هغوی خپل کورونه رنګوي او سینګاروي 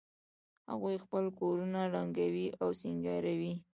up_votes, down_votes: 1, 2